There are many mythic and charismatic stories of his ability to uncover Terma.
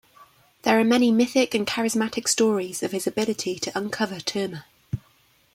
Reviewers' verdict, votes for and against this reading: accepted, 3, 0